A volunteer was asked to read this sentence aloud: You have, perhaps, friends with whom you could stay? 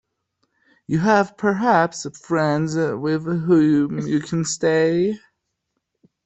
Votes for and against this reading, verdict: 1, 2, rejected